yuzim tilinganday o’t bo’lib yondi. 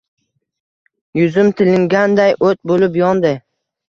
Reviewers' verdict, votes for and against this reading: accepted, 2, 0